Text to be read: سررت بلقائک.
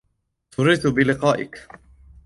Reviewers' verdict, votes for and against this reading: accepted, 2, 0